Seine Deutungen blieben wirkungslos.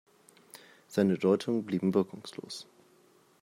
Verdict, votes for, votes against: accepted, 2, 0